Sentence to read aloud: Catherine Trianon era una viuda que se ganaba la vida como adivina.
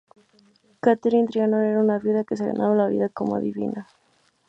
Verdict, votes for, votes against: rejected, 2, 2